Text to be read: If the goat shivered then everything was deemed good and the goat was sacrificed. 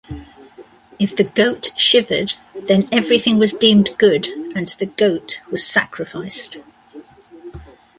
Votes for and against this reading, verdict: 2, 1, accepted